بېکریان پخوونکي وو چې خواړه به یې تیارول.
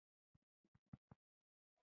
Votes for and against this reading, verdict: 0, 2, rejected